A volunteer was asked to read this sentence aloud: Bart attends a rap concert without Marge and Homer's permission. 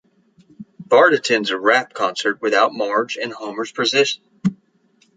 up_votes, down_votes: 0, 2